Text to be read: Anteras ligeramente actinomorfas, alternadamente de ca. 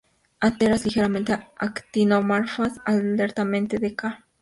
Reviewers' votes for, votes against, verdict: 0, 2, rejected